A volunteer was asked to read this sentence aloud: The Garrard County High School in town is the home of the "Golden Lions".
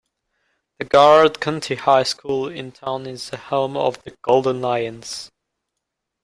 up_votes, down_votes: 2, 0